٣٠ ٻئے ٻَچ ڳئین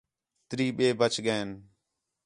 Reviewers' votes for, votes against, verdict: 0, 2, rejected